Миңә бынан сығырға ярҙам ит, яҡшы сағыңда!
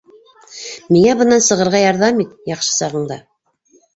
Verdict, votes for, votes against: accepted, 3, 0